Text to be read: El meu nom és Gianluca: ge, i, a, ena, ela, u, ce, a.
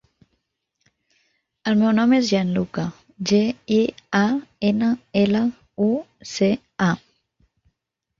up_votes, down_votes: 2, 0